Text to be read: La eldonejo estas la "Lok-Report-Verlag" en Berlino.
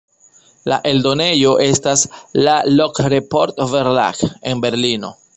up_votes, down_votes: 1, 2